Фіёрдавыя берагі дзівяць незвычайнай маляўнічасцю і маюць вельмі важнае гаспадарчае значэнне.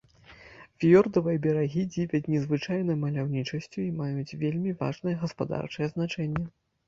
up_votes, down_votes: 2, 0